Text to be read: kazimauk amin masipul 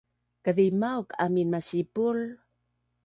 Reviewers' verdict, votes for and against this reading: accepted, 2, 0